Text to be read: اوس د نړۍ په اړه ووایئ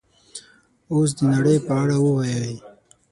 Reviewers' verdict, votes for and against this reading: accepted, 12, 6